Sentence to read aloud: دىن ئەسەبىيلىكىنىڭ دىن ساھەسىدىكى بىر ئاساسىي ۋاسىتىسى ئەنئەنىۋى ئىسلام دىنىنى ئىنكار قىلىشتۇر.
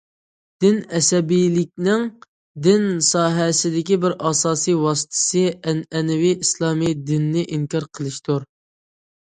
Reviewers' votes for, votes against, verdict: 0, 2, rejected